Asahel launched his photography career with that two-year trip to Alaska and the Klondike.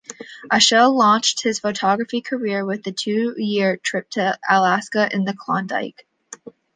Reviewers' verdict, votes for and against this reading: rejected, 1, 2